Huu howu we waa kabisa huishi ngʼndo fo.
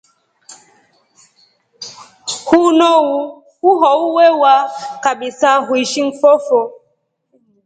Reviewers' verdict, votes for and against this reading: accepted, 2, 0